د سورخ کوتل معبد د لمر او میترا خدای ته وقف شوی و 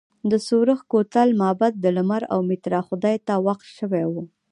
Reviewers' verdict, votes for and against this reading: accepted, 2, 0